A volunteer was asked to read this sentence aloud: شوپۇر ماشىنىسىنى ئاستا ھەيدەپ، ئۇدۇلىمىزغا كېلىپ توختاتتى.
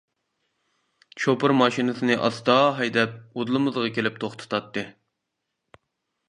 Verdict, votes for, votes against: rejected, 1, 2